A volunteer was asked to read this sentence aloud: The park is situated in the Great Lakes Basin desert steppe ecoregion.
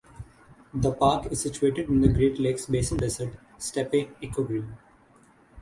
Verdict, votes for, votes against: rejected, 0, 6